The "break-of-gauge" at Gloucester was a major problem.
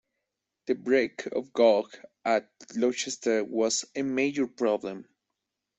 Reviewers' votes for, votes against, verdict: 0, 2, rejected